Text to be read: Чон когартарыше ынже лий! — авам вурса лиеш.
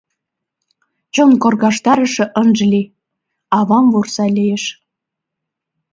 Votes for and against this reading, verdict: 0, 2, rejected